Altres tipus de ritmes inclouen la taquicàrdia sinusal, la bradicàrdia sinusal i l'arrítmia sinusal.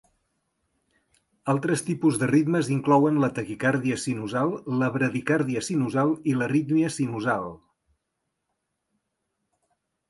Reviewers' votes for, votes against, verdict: 3, 0, accepted